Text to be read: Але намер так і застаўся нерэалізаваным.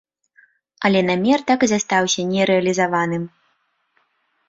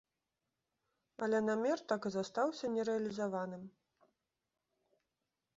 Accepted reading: first